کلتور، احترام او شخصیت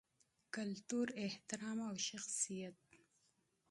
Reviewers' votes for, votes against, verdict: 2, 0, accepted